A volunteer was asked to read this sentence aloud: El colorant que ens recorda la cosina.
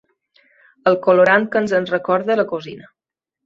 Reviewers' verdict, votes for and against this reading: rejected, 0, 2